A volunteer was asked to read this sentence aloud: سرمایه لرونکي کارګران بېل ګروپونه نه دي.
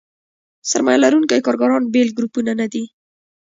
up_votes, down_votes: 2, 1